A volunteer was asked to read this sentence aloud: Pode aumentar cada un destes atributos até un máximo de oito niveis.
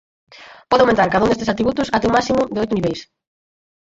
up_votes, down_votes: 0, 4